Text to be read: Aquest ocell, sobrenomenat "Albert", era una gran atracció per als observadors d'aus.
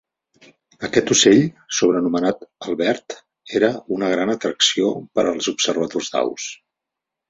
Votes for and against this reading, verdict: 4, 0, accepted